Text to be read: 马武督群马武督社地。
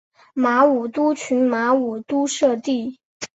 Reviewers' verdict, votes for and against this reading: accepted, 3, 0